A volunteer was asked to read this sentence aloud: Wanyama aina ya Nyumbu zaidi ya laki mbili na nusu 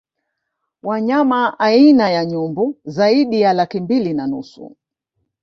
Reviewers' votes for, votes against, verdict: 2, 0, accepted